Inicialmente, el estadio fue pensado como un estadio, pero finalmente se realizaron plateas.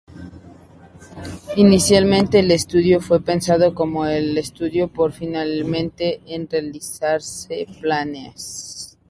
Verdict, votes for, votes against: rejected, 0, 4